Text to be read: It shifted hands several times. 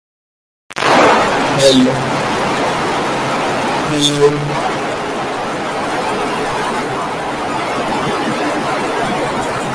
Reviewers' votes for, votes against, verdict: 0, 2, rejected